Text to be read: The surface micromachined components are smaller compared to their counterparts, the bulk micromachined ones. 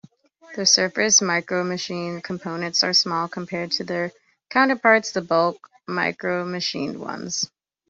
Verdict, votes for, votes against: accepted, 2, 1